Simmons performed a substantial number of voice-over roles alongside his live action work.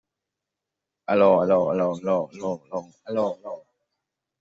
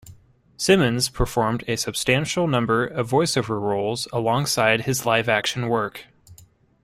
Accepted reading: second